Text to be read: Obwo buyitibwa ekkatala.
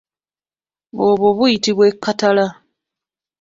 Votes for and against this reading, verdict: 2, 0, accepted